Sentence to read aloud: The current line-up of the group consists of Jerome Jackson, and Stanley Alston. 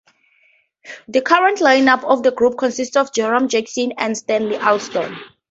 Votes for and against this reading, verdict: 4, 0, accepted